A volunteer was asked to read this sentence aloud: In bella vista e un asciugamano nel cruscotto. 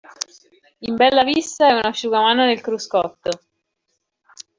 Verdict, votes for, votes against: accepted, 2, 0